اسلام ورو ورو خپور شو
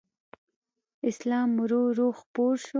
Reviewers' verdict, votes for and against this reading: accepted, 2, 0